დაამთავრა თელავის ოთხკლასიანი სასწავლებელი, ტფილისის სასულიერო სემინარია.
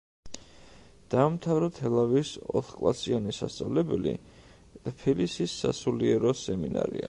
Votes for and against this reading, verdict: 2, 1, accepted